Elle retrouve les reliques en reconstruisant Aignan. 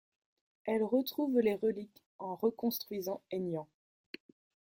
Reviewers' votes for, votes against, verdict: 2, 0, accepted